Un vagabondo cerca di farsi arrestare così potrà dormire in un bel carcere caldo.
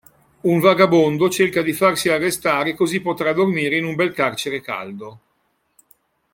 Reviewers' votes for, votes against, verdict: 2, 0, accepted